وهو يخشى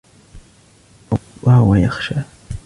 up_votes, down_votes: 2, 0